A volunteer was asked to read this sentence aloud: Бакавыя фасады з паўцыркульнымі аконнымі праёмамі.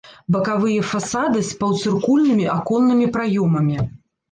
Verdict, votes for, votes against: rejected, 1, 2